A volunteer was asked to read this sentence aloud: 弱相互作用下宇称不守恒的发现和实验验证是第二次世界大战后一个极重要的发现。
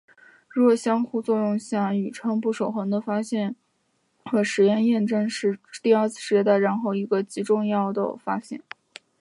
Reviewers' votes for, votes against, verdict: 5, 0, accepted